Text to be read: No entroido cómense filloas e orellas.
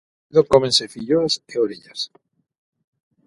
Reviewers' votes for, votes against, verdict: 0, 6, rejected